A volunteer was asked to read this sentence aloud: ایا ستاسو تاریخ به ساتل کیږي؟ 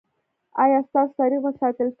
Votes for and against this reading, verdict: 2, 0, accepted